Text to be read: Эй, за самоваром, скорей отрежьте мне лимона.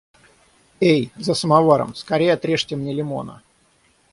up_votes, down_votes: 3, 3